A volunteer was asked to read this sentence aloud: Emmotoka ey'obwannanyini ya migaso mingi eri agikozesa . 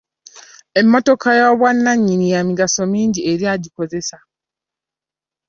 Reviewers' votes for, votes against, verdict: 2, 0, accepted